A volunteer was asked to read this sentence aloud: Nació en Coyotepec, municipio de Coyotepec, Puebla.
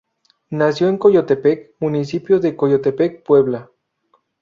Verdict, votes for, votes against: accepted, 2, 0